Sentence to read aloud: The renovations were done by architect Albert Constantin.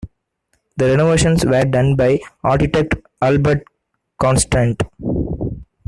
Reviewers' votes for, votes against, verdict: 0, 2, rejected